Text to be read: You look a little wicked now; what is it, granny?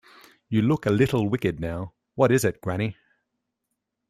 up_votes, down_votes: 2, 0